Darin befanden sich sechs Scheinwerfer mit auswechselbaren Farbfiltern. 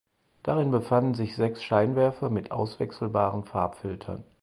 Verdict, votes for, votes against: accepted, 4, 0